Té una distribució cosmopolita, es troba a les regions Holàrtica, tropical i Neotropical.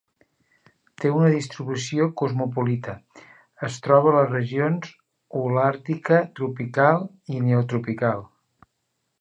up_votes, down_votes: 0, 2